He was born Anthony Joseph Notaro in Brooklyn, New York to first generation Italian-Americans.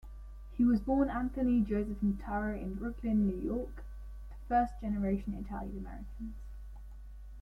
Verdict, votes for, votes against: rejected, 1, 2